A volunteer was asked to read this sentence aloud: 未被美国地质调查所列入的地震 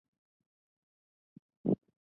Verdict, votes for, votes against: rejected, 2, 5